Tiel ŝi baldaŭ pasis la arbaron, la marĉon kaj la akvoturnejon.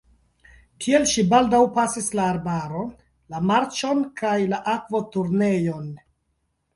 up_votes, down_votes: 1, 2